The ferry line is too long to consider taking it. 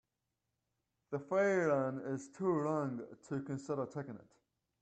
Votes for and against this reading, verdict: 2, 1, accepted